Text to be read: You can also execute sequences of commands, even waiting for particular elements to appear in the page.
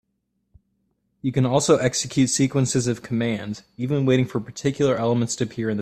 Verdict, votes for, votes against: rejected, 0, 3